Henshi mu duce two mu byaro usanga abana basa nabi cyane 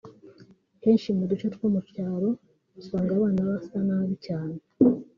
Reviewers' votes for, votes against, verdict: 3, 1, accepted